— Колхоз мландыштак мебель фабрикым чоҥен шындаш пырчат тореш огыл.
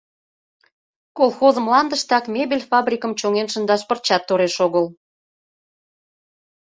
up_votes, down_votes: 2, 0